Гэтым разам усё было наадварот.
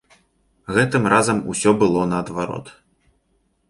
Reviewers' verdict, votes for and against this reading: accepted, 2, 0